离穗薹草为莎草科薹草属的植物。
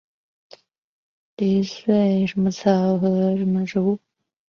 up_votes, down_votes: 0, 3